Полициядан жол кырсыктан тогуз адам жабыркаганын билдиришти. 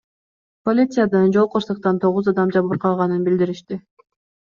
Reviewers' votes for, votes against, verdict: 2, 0, accepted